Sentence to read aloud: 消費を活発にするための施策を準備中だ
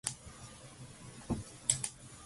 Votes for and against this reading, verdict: 0, 2, rejected